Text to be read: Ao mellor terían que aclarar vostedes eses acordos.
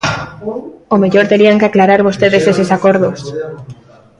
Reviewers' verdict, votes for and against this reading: rejected, 1, 2